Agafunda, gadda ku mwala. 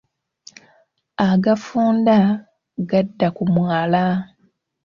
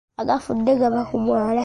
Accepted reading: first